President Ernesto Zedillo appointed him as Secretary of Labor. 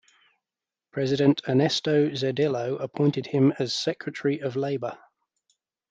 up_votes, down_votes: 2, 0